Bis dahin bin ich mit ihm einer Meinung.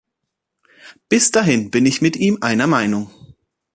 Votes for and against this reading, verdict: 2, 0, accepted